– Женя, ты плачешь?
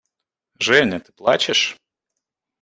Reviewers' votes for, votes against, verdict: 1, 2, rejected